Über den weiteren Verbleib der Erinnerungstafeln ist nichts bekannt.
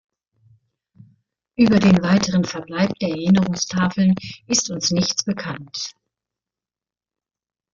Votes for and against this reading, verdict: 0, 2, rejected